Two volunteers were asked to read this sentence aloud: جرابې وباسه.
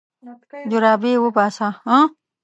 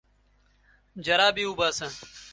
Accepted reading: second